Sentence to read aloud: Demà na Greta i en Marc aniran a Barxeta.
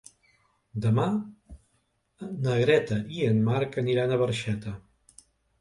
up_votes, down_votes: 2, 0